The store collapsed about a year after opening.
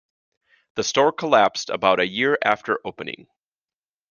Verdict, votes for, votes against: accepted, 2, 0